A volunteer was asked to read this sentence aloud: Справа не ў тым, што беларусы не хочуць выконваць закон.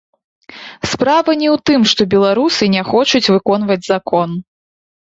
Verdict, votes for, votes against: rejected, 1, 2